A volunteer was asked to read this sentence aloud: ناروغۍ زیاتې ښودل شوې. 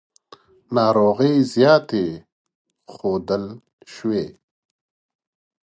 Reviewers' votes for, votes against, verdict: 2, 0, accepted